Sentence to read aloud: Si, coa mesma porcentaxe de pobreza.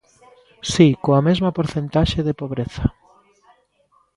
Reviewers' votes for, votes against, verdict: 2, 0, accepted